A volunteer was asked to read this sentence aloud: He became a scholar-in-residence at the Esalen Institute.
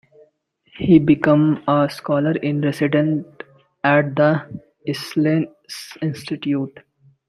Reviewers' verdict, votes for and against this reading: rejected, 0, 2